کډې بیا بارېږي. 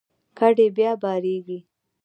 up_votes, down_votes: 2, 1